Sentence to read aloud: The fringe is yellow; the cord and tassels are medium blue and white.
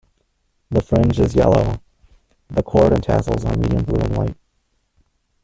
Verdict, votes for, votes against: rejected, 0, 2